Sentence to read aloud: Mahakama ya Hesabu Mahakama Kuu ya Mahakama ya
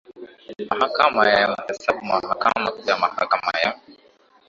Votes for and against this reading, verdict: 9, 5, accepted